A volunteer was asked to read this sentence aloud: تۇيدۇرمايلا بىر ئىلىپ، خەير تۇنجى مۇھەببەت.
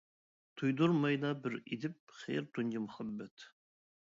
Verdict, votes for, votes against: rejected, 0, 2